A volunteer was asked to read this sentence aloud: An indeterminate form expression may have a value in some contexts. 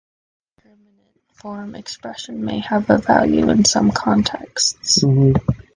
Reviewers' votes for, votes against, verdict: 1, 2, rejected